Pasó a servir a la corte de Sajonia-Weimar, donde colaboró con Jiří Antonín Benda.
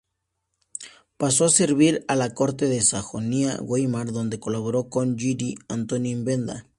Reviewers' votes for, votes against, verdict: 0, 2, rejected